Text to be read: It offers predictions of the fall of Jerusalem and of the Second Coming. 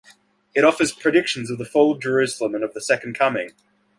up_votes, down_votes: 2, 0